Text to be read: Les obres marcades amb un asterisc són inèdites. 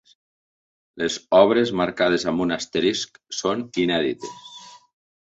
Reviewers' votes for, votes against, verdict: 2, 0, accepted